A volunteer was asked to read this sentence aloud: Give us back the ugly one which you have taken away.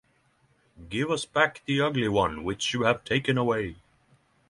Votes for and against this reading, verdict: 0, 3, rejected